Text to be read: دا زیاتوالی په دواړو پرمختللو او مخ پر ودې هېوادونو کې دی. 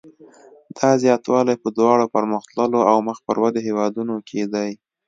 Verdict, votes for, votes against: accepted, 2, 0